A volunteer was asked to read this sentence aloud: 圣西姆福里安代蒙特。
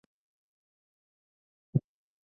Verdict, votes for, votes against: rejected, 1, 2